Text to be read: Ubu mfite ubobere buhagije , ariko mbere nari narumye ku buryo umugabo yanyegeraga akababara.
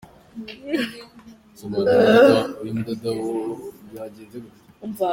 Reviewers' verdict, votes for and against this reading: rejected, 0, 3